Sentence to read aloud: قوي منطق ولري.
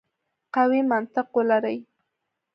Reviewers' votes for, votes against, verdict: 2, 0, accepted